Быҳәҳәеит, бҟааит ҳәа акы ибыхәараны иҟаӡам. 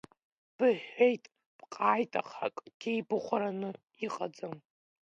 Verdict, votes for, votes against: rejected, 1, 2